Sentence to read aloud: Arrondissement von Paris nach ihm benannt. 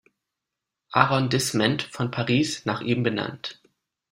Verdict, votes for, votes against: rejected, 0, 2